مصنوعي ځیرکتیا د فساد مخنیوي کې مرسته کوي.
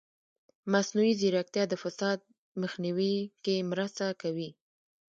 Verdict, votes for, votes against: rejected, 1, 2